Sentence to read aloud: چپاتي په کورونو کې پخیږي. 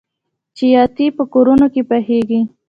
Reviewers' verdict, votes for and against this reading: accepted, 2, 0